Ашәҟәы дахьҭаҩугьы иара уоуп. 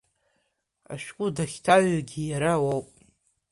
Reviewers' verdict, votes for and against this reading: accepted, 2, 0